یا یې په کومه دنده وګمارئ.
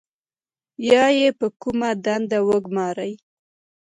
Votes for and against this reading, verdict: 1, 2, rejected